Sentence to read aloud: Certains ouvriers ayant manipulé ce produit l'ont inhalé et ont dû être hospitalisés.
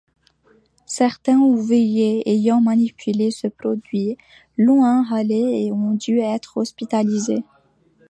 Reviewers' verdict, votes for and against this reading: rejected, 1, 2